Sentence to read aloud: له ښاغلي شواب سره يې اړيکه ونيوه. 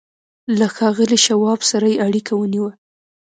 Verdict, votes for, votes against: accepted, 2, 1